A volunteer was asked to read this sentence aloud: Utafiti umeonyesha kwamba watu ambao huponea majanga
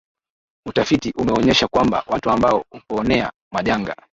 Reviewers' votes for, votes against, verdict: 3, 2, accepted